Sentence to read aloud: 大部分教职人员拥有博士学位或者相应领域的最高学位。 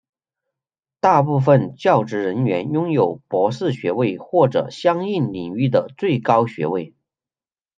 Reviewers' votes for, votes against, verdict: 1, 2, rejected